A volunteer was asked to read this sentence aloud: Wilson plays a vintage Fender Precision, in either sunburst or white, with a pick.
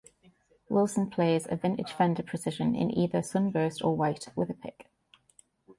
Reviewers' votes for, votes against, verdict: 2, 0, accepted